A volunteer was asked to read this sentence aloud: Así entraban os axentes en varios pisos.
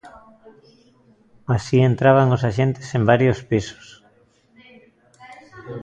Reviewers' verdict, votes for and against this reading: rejected, 1, 2